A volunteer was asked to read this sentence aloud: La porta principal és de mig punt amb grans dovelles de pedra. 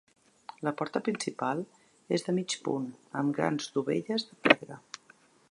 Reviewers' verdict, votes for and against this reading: rejected, 1, 2